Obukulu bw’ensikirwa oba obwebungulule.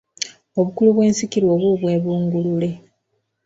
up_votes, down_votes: 2, 0